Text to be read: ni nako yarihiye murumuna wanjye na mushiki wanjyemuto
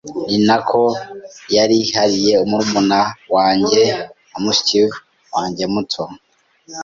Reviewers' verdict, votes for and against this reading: accepted, 3, 0